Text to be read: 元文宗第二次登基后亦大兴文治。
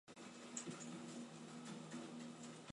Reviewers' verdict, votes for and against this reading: rejected, 0, 2